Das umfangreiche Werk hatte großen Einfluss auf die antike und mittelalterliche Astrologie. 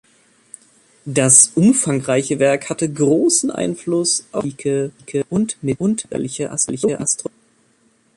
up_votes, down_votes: 0, 2